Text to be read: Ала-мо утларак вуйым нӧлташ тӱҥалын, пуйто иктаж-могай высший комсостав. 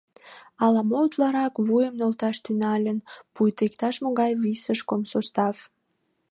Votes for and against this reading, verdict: 2, 1, accepted